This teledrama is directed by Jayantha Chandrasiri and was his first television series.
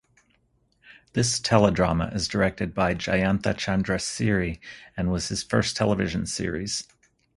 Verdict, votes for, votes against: accepted, 4, 0